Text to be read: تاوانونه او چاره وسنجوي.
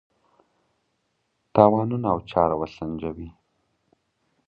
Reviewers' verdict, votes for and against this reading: accepted, 2, 0